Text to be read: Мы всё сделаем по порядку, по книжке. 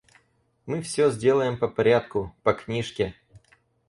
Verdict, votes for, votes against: accepted, 2, 0